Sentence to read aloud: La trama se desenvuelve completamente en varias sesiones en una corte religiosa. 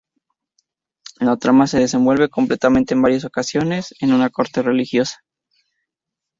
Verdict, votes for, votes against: rejected, 0, 2